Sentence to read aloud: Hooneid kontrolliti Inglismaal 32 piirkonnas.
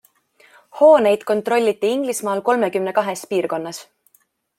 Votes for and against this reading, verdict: 0, 2, rejected